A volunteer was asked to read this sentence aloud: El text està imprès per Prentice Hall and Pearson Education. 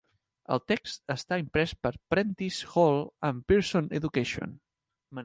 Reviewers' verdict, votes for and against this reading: accepted, 3, 1